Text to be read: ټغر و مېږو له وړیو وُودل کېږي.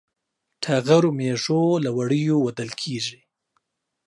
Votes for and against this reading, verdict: 2, 0, accepted